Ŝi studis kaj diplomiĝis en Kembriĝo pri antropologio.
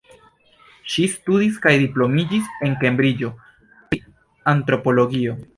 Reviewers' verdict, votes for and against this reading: rejected, 0, 2